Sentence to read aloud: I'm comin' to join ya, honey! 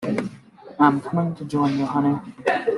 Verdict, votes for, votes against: accepted, 2, 1